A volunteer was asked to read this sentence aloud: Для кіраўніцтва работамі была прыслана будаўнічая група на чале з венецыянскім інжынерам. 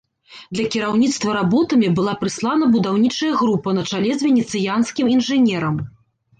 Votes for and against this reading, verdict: 2, 0, accepted